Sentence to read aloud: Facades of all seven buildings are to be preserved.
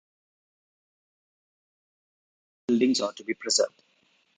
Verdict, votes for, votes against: rejected, 0, 2